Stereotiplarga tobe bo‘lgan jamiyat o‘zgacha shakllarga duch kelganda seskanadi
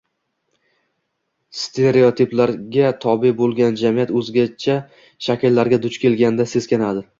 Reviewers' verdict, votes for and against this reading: accepted, 2, 1